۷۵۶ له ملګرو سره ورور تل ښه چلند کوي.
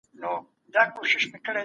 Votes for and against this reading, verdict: 0, 2, rejected